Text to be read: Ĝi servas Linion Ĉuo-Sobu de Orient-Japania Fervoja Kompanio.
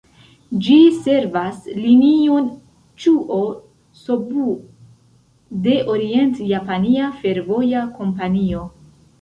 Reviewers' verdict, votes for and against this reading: rejected, 1, 2